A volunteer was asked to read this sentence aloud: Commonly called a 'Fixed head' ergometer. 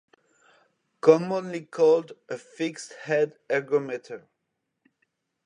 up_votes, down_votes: 2, 0